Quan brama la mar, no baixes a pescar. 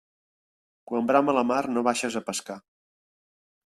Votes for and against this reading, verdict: 3, 1, accepted